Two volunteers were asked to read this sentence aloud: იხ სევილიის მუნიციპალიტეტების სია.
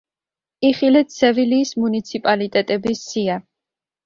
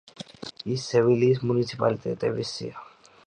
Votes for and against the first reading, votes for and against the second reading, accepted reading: 0, 2, 2, 1, second